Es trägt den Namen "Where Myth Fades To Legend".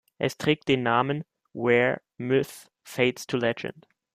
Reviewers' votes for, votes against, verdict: 1, 2, rejected